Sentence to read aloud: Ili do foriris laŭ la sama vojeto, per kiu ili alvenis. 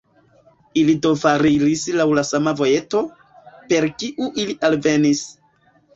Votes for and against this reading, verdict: 0, 2, rejected